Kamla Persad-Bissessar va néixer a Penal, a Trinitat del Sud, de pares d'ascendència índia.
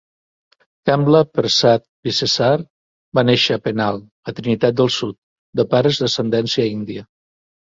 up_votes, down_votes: 2, 0